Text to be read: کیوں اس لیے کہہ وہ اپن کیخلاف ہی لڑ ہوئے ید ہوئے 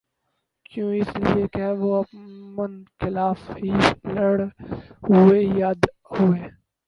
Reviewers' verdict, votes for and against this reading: rejected, 0, 4